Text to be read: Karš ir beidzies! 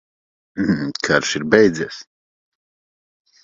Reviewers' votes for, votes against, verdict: 1, 2, rejected